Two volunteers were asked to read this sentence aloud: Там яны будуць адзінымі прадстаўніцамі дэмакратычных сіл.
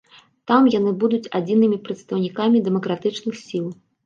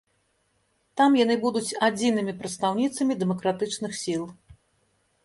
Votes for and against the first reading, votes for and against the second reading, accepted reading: 1, 2, 2, 0, second